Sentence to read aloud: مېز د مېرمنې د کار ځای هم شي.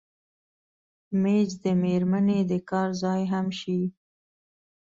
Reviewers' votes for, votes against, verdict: 2, 0, accepted